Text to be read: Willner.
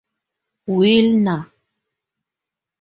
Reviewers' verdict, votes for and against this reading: accepted, 4, 0